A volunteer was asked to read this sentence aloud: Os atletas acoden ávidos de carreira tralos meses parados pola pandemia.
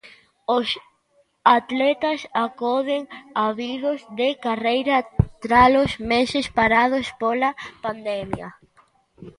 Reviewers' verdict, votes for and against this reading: rejected, 0, 2